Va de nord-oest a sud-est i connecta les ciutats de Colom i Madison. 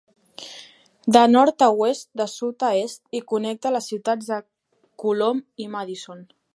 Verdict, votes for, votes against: rejected, 0, 2